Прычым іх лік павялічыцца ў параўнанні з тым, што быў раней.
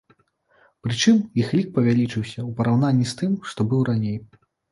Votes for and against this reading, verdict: 0, 2, rejected